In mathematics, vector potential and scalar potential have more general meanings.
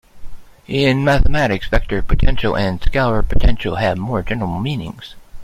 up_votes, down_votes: 2, 0